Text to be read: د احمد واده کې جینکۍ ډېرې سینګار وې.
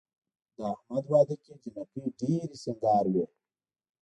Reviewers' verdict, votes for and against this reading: rejected, 1, 2